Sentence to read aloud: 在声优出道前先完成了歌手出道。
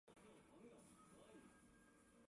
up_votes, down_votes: 1, 6